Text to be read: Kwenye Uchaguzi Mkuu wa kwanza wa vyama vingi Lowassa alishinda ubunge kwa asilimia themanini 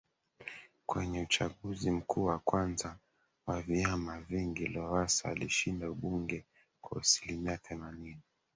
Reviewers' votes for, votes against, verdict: 2, 1, accepted